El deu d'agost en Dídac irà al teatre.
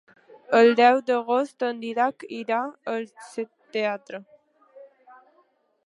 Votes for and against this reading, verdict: 0, 2, rejected